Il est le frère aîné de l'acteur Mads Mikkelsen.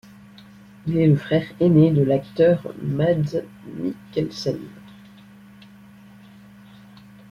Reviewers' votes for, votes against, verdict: 2, 0, accepted